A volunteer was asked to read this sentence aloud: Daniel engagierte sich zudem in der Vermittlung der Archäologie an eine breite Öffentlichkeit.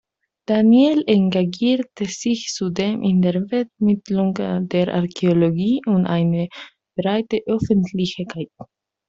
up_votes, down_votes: 0, 2